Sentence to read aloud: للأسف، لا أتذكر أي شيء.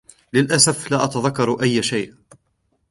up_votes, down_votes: 2, 0